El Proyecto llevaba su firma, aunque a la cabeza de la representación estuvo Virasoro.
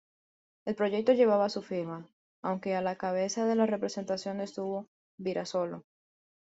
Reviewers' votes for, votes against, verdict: 1, 2, rejected